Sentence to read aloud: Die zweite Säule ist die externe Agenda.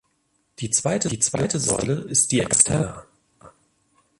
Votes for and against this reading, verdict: 0, 2, rejected